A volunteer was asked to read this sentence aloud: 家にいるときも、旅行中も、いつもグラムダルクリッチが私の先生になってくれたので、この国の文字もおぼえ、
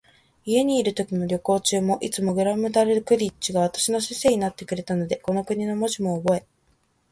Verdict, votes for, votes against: accepted, 16, 0